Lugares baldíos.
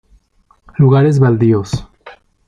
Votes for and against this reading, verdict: 3, 0, accepted